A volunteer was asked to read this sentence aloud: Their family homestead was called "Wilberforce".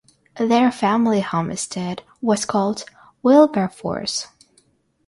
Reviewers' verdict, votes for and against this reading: rejected, 3, 3